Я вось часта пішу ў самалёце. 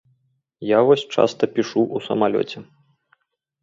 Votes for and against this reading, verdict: 0, 2, rejected